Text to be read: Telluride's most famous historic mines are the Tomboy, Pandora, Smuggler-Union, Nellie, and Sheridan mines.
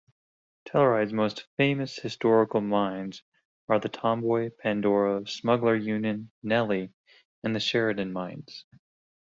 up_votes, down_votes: 0, 2